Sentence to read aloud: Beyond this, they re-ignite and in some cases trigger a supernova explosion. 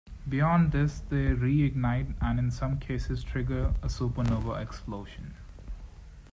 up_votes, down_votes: 2, 1